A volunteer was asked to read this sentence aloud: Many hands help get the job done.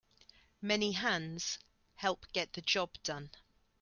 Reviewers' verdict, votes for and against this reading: accepted, 2, 0